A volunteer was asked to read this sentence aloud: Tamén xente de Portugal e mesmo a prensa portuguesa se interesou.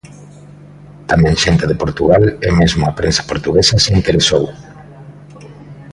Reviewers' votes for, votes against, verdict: 2, 0, accepted